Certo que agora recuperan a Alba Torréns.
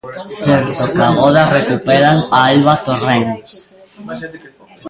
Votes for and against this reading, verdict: 0, 2, rejected